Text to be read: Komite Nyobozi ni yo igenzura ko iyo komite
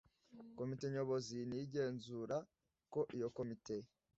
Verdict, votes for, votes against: accepted, 2, 0